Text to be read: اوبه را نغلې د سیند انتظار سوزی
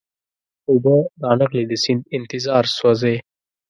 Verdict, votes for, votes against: rejected, 1, 2